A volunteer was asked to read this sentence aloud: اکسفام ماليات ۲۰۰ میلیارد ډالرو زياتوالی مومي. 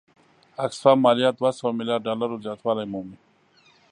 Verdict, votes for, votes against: rejected, 0, 2